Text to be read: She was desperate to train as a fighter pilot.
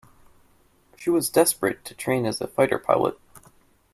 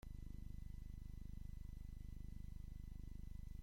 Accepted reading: first